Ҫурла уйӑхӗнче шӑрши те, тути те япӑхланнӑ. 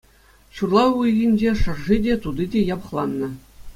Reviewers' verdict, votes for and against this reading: accepted, 2, 0